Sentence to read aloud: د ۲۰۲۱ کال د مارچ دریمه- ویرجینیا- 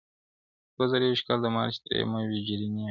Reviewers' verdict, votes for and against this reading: rejected, 0, 2